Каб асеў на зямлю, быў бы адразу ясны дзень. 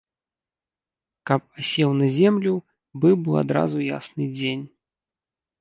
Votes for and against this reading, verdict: 1, 2, rejected